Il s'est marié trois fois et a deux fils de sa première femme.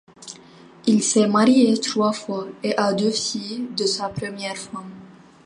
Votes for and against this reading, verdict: 0, 2, rejected